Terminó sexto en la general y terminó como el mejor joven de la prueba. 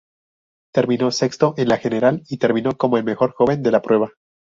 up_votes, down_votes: 0, 2